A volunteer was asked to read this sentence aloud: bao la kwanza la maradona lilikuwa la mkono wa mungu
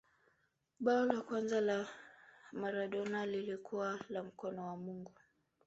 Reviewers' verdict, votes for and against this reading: rejected, 2, 3